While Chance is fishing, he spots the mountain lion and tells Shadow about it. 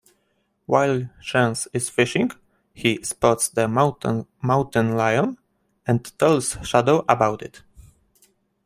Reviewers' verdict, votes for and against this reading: rejected, 1, 2